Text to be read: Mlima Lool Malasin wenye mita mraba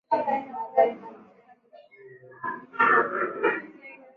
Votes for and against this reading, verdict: 2, 11, rejected